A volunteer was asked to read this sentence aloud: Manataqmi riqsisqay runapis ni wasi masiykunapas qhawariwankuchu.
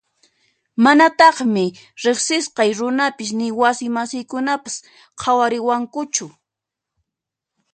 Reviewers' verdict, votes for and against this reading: accepted, 2, 0